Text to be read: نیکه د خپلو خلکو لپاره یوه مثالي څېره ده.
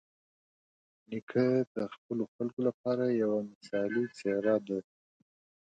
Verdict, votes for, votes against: rejected, 2, 3